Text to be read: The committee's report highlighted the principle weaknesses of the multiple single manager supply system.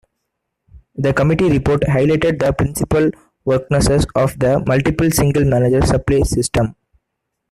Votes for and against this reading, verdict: 0, 2, rejected